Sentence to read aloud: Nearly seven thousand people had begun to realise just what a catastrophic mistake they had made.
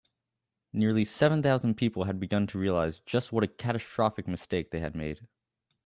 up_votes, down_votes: 2, 0